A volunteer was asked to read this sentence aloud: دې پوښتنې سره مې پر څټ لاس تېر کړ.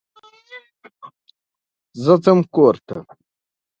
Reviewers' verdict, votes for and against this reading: rejected, 0, 2